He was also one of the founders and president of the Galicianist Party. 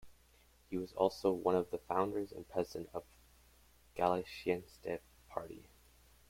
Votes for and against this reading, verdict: 2, 0, accepted